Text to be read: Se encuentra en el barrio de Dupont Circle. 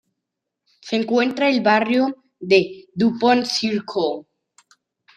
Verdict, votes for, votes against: rejected, 1, 2